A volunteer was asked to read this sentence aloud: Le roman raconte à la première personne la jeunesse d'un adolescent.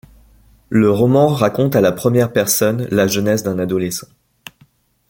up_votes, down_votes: 2, 0